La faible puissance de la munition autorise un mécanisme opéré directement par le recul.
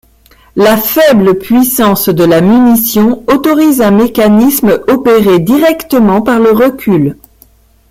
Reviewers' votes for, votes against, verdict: 0, 2, rejected